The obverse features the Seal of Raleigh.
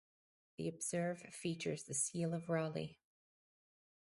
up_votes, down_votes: 2, 4